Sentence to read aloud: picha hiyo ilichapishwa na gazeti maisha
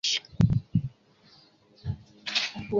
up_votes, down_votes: 0, 3